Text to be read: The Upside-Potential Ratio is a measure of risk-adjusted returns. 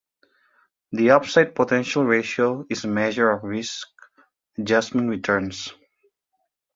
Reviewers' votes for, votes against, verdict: 0, 2, rejected